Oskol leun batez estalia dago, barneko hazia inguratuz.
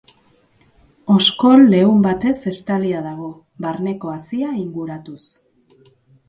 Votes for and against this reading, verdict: 2, 0, accepted